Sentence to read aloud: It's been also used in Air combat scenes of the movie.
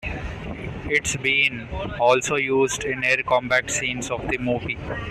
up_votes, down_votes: 2, 0